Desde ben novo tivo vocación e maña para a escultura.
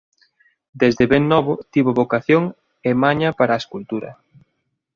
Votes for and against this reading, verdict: 2, 0, accepted